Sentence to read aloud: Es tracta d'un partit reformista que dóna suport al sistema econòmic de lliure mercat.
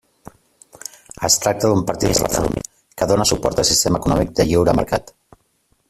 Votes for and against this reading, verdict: 0, 2, rejected